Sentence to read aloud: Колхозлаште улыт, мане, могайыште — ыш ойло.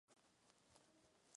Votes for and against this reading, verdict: 1, 2, rejected